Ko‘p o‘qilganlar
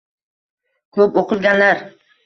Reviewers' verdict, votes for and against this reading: rejected, 1, 2